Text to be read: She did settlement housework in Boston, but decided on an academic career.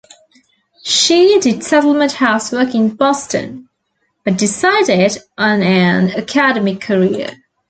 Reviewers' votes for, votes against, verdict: 1, 2, rejected